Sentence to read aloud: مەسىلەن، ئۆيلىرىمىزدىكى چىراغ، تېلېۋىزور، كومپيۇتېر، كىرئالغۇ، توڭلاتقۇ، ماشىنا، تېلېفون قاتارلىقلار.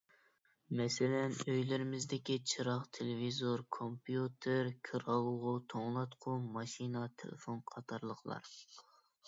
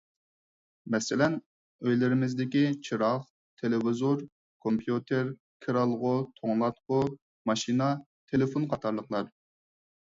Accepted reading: second